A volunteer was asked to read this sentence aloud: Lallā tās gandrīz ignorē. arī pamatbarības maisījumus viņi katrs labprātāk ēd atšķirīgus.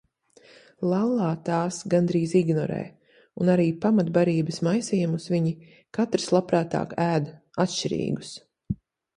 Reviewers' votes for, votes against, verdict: 1, 2, rejected